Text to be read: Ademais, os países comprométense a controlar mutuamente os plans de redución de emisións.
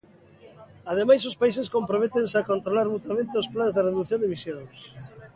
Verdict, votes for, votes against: accepted, 2, 0